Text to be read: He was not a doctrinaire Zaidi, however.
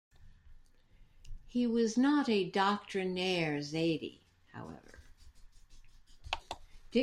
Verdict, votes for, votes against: accepted, 2, 1